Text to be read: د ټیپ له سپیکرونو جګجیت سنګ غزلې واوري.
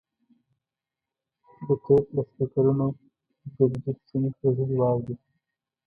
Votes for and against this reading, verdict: 1, 2, rejected